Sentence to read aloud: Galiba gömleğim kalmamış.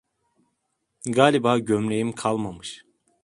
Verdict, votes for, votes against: accepted, 2, 0